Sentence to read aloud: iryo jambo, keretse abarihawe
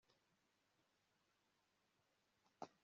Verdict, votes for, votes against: rejected, 0, 2